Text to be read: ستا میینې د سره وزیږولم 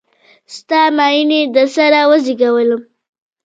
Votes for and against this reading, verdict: 2, 0, accepted